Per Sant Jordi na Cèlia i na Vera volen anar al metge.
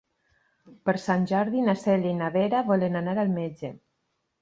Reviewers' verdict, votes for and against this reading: accepted, 4, 0